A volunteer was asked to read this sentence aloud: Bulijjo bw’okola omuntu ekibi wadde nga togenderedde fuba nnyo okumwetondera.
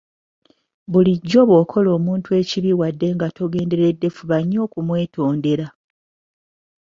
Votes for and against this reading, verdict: 2, 1, accepted